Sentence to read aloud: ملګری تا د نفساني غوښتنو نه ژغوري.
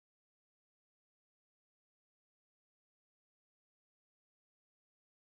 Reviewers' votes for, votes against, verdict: 0, 2, rejected